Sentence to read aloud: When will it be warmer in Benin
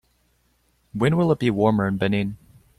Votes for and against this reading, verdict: 2, 0, accepted